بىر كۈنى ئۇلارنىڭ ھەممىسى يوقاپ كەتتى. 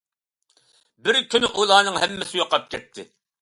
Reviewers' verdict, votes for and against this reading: accepted, 2, 0